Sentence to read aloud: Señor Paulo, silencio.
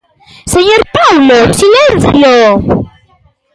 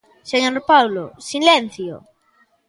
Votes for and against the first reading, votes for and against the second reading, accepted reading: 1, 2, 2, 0, second